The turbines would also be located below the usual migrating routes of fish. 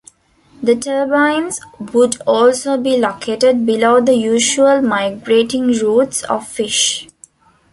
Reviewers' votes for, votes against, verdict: 2, 0, accepted